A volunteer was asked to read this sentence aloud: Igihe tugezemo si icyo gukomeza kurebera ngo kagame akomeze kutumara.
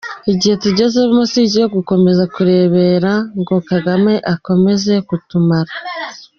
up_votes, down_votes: 2, 1